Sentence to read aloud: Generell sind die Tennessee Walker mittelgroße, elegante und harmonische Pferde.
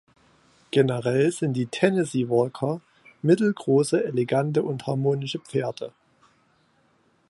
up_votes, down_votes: 2, 0